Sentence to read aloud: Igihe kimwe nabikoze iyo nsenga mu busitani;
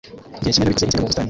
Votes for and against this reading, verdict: 0, 2, rejected